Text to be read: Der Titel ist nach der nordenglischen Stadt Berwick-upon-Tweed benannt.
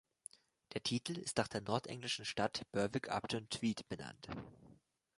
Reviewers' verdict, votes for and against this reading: rejected, 0, 2